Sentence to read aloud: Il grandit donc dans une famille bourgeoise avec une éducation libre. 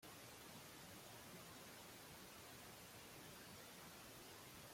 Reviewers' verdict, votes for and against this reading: rejected, 0, 2